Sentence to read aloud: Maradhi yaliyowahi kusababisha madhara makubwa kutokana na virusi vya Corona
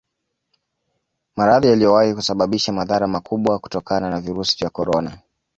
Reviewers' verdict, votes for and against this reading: accepted, 2, 0